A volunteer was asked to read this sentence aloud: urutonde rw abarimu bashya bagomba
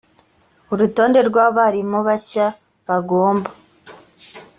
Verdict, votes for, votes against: accepted, 2, 0